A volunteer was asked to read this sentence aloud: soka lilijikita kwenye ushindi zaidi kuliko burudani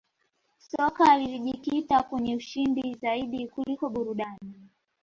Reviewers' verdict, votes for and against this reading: rejected, 1, 2